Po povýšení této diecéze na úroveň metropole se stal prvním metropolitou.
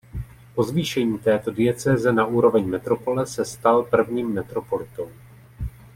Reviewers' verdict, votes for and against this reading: rejected, 0, 2